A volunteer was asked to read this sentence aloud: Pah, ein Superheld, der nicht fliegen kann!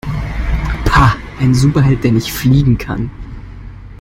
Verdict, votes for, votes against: accepted, 2, 1